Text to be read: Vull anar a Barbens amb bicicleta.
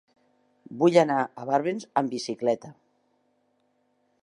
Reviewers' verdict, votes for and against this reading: accepted, 3, 1